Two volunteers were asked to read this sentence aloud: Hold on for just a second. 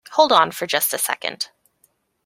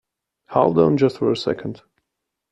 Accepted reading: first